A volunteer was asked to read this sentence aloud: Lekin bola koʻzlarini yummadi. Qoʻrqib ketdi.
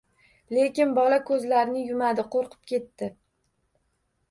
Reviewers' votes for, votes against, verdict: 1, 2, rejected